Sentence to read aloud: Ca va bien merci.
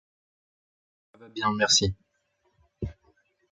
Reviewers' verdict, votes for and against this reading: rejected, 1, 2